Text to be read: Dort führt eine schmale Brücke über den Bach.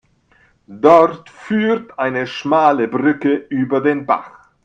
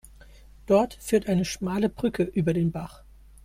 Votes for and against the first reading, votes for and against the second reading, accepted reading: 0, 2, 2, 0, second